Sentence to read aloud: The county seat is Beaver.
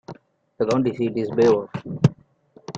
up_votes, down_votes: 1, 2